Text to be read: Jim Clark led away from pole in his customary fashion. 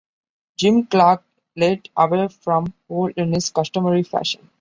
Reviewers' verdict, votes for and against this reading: accepted, 2, 0